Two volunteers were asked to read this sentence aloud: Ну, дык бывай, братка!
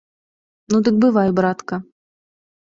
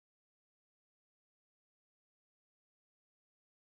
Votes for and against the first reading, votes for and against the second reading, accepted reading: 2, 0, 0, 2, first